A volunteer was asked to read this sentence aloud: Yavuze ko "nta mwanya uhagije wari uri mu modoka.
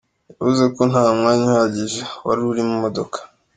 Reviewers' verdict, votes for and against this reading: accepted, 2, 0